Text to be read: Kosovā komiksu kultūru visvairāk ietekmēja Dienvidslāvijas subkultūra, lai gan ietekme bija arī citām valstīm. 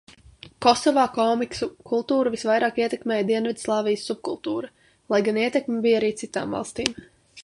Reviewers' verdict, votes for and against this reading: accepted, 2, 0